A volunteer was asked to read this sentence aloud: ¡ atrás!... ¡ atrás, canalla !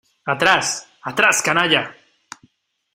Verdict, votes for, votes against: accepted, 2, 0